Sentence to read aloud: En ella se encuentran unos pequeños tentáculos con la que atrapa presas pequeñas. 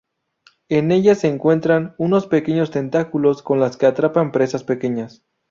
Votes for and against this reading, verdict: 0, 2, rejected